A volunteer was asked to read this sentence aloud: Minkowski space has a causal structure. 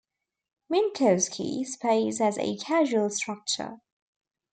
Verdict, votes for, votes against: rejected, 1, 2